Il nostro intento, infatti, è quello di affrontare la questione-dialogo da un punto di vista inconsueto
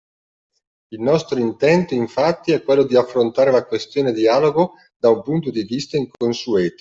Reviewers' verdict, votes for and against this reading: accepted, 2, 0